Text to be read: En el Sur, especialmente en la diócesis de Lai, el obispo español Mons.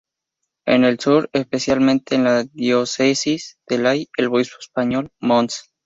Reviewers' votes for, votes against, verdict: 2, 2, rejected